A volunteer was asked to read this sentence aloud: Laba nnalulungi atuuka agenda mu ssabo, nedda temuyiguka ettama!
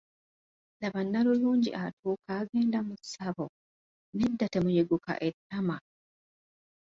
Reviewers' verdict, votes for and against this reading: accepted, 2, 1